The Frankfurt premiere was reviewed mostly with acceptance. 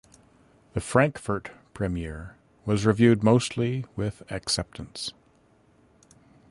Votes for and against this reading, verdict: 1, 2, rejected